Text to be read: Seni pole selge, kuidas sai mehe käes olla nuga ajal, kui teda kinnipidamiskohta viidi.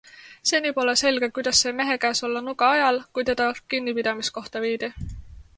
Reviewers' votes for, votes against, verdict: 2, 0, accepted